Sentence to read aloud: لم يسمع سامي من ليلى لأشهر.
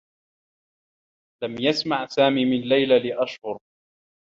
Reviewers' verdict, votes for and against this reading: rejected, 1, 3